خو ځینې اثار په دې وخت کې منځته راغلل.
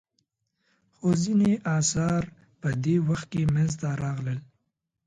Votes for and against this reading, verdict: 2, 0, accepted